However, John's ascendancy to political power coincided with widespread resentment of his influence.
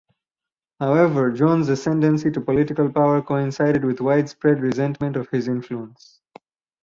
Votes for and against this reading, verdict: 4, 0, accepted